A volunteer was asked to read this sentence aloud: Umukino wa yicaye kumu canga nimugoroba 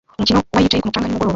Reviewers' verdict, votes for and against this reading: rejected, 0, 2